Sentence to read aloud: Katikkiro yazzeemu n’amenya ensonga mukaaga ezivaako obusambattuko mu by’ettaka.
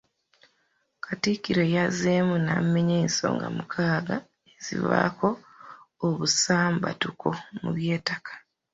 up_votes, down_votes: 1, 2